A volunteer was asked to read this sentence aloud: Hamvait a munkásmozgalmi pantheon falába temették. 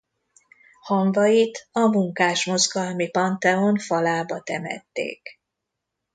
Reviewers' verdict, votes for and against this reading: accepted, 2, 0